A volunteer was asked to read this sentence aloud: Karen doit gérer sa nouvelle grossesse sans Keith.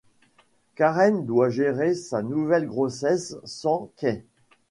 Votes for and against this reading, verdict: 2, 1, accepted